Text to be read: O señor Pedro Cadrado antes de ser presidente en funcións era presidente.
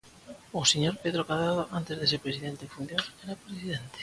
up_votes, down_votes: 2, 1